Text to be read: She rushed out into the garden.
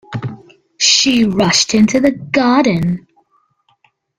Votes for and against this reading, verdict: 1, 2, rejected